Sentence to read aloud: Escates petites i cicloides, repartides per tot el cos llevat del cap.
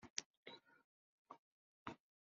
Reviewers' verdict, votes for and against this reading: rejected, 0, 2